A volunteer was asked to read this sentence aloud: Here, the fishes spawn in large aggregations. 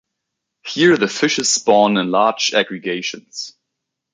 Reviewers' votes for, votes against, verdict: 2, 0, accepted